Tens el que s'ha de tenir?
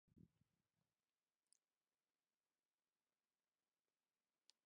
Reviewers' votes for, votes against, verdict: 0, 2, rejected